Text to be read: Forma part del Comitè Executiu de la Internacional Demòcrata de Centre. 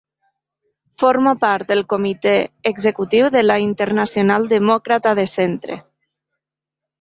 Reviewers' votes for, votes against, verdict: 2, 0, accepted